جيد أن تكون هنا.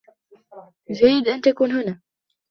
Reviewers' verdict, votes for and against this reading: rejected, 1, 2